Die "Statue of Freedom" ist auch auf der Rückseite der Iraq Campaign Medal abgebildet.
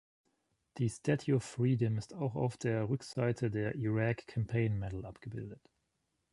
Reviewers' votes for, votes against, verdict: 0, 2, rejected